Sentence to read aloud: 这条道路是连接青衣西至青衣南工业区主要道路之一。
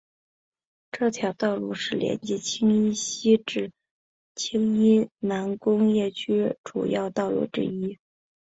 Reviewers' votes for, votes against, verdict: 3, 1, accepted